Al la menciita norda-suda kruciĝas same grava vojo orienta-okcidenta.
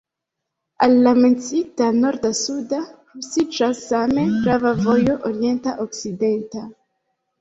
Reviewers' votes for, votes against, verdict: 0, 2, rejected